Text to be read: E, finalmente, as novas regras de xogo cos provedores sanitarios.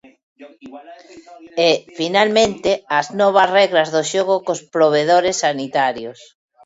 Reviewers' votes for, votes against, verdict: 2, 1, accepted